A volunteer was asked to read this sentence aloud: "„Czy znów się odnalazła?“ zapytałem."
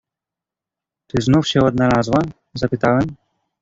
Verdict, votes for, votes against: accepted, 2, 0